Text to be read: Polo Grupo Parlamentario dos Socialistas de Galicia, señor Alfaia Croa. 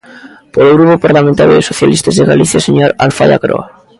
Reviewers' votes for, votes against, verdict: 1, 2, rejected